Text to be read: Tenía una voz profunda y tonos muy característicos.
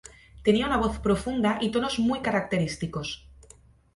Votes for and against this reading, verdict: 2, 0, accepted